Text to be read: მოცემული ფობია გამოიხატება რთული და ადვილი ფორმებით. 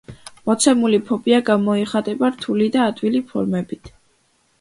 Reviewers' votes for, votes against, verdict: 2, 0, accepted